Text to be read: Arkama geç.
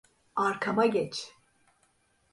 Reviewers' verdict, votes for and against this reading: accepted, 2, 0